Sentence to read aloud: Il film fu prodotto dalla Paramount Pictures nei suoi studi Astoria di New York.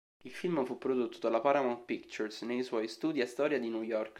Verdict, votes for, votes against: accepted, 3, 0